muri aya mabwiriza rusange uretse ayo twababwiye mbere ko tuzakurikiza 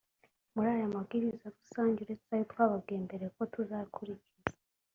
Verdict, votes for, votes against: accepted, 2, 0